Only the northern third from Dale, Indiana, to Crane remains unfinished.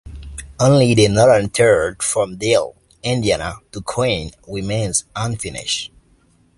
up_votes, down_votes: 2, 1